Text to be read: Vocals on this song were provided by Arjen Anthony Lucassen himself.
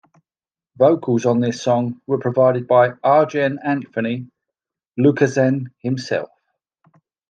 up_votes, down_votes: 2, 0